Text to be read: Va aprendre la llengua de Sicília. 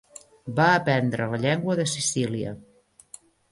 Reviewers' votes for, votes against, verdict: 1, 2, rejected